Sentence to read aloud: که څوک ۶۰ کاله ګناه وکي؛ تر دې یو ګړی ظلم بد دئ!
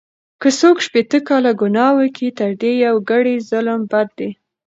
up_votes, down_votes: 0, 2